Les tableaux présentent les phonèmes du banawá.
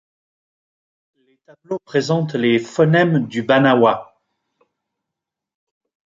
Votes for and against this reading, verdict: 0, 2, rejected